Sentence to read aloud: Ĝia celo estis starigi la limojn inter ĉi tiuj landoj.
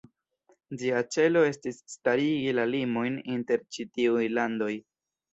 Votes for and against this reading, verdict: 1, 2, rejected